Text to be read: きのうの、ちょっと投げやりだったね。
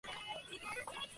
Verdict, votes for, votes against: rejected, 1, 2